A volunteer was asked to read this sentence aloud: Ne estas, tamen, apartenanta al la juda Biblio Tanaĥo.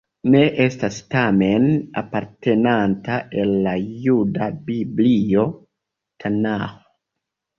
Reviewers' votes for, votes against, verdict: 2, 1, accepted